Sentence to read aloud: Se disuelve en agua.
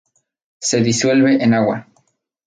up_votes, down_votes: 2, 0